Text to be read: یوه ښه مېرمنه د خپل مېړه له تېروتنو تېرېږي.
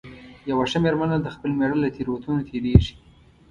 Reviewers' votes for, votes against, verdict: 2, 0, accepted